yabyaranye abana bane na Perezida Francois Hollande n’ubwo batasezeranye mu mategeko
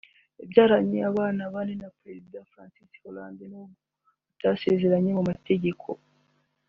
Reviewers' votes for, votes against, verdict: 3, 2, accepted